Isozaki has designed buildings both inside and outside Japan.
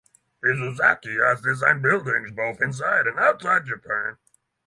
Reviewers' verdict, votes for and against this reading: rejected, 3, 3